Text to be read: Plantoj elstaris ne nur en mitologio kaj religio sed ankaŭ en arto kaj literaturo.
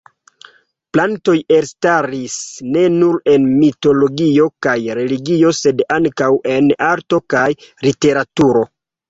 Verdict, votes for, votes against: accepted, 3, 0